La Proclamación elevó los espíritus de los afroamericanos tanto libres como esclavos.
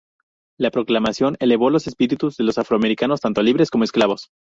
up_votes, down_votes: 0, 2